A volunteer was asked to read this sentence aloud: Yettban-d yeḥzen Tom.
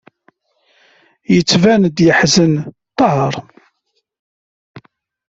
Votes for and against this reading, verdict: 1, 2, rejected